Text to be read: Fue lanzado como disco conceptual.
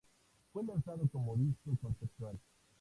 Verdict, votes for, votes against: rejected, 0, 4